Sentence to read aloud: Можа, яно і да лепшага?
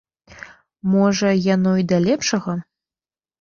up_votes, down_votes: 2, 0